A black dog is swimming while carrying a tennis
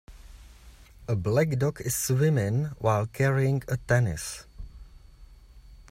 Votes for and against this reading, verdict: 1, 2, rejected